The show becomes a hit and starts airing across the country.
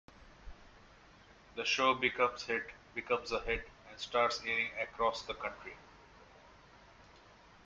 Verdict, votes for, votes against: rejected, 2, 3